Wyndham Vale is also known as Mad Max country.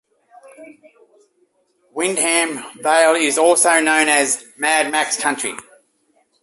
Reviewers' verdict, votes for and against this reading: accepted, 2, 0